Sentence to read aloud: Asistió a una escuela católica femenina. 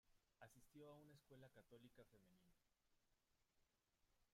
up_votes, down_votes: 1, 2